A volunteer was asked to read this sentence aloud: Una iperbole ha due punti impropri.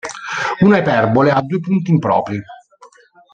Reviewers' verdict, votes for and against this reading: accepted, 2, 0